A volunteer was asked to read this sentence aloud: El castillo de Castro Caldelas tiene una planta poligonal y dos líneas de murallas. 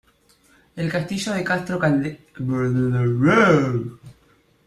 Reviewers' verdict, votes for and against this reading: rejected, 0, 2